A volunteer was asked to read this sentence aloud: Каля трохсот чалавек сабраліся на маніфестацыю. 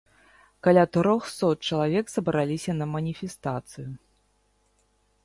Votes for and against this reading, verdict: 2, 0, accepted